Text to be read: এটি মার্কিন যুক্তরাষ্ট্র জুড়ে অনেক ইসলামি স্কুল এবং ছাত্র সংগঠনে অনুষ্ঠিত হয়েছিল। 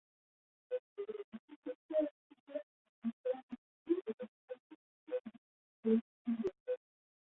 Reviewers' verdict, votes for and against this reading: rejected, 0, 3